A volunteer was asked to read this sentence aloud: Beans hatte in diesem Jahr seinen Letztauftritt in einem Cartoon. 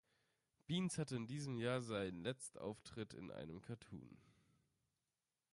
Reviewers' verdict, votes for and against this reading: rejected, 1, 2